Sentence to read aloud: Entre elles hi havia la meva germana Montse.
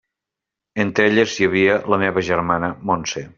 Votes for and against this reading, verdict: 3, 0, accepted